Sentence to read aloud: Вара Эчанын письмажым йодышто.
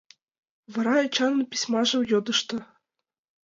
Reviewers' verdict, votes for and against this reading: accepted, 2, 0